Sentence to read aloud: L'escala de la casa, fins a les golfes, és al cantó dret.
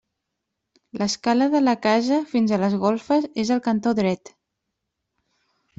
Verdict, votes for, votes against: accepted, 2, 0